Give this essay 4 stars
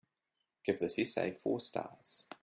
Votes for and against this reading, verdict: 0, 2, rejected